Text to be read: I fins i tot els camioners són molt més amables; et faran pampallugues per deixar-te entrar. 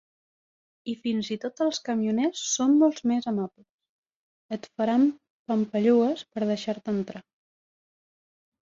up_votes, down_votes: 0, 4